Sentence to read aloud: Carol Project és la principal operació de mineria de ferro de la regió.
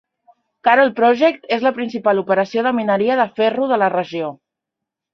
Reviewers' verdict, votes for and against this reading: accepted, 2, 0